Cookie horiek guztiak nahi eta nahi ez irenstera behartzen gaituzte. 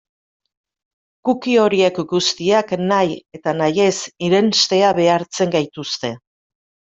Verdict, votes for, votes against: rejected, 1, 2